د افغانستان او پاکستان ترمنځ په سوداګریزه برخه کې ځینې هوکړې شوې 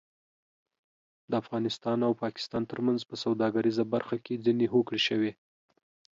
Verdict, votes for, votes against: accepted, 2, 0